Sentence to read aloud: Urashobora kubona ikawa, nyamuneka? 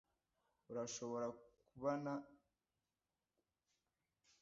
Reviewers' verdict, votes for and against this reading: rejected, 0, 2